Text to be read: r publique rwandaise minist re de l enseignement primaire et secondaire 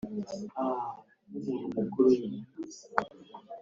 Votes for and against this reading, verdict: 2, 3, rejected